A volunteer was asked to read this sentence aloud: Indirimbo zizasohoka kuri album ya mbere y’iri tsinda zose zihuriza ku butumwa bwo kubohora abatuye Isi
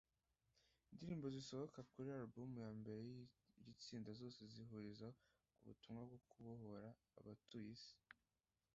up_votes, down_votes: 1, 2